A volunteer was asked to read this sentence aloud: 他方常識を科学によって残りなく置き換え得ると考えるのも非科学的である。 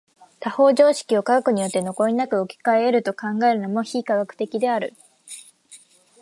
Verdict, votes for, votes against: accepted, 6, 0